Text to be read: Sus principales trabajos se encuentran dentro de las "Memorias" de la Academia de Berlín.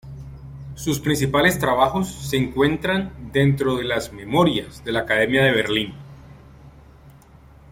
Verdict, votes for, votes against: rejected, 0, 2